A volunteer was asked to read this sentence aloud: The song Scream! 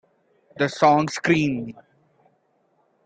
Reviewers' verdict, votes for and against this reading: accepted, 2, 0